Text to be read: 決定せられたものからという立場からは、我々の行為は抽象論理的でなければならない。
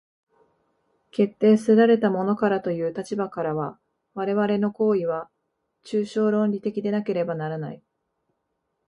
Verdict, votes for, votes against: accepted, 4, 0